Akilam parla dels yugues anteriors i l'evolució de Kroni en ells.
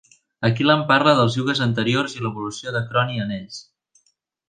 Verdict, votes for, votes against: accepted, 2, 0